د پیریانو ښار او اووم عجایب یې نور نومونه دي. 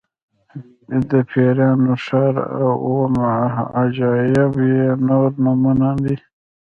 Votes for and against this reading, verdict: 2, 3, rejected